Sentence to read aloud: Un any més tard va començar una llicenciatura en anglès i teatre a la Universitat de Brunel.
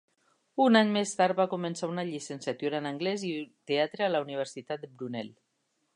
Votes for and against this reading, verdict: 0, 2, rejected